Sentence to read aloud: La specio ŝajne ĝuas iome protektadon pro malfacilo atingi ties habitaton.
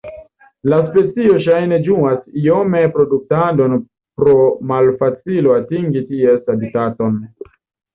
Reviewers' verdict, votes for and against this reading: rejected, 0, 2